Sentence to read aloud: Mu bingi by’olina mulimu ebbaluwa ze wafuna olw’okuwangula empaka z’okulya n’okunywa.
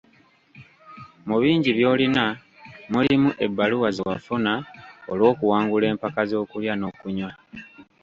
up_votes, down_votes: 2, 1